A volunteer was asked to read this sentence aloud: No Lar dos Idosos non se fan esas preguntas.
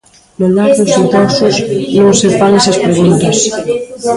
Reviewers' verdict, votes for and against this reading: rejected, 0, 2